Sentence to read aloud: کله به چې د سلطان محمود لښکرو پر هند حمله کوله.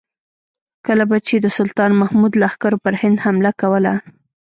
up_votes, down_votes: 2, 0